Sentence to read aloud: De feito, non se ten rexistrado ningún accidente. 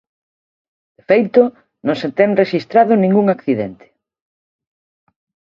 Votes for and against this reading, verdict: 1, 2, rejected